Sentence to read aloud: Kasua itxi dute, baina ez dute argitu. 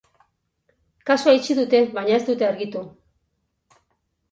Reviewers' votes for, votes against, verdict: 12, 4, accepted